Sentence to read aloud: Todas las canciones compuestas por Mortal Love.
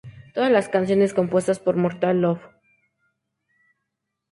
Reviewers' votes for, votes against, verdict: 2, 0, accepted